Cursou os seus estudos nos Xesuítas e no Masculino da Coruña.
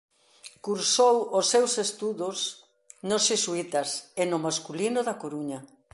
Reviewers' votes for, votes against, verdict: 2, 0, accepted